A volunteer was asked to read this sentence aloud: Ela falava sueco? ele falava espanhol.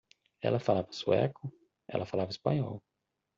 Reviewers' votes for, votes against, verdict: 1, 2, rejected